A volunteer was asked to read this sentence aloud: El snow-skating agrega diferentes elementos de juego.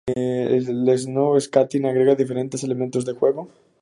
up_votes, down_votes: 2, 0